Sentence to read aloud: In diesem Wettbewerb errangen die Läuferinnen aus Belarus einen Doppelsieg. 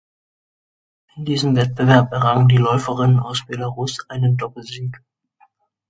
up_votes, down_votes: 1, 2